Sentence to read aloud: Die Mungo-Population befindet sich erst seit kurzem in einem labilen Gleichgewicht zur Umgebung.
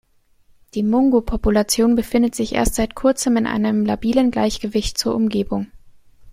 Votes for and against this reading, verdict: 2, 0, accepted